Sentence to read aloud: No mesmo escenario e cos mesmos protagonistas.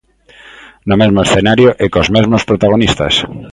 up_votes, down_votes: 2, 0